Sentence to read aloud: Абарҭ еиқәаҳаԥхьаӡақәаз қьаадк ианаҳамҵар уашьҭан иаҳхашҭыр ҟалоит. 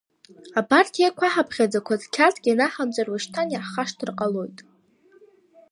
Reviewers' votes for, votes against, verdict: 0, 2, rejected